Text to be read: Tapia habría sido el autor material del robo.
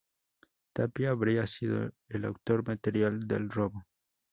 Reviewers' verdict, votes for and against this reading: rejected, 2, 2